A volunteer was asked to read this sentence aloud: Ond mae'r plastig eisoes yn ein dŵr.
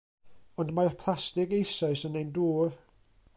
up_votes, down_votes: 0, 2